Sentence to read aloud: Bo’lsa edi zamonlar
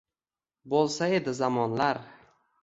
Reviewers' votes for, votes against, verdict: 1, 2, rejected